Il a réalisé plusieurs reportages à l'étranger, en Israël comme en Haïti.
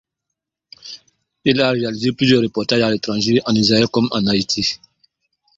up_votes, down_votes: 1, 2